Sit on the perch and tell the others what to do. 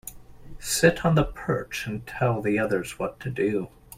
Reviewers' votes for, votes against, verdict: 2, 0, accepted